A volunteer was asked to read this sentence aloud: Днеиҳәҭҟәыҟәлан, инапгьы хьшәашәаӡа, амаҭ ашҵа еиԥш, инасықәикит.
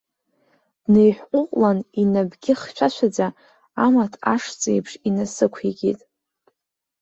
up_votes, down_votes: 1, 2